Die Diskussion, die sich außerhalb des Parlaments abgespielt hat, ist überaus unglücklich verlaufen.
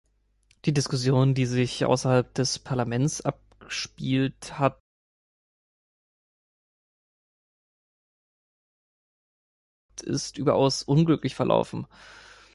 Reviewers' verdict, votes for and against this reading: rejected, 1, 2